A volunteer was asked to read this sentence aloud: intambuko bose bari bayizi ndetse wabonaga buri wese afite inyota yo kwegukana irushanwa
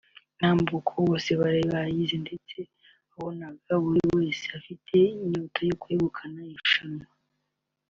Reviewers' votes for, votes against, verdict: 2, 0, accepted